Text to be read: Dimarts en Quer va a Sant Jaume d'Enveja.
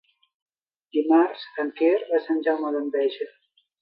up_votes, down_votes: 3, 0